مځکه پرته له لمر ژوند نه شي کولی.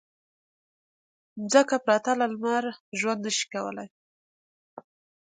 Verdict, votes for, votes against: accepted, 2, 0